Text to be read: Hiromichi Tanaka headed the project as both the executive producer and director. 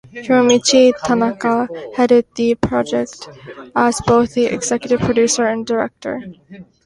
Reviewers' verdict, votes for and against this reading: accepted, 2, 0